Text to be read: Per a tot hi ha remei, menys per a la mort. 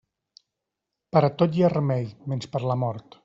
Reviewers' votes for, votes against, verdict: 1, 2, rejected